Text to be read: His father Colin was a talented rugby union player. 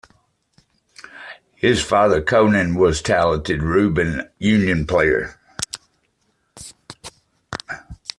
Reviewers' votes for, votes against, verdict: 2, 1, accepted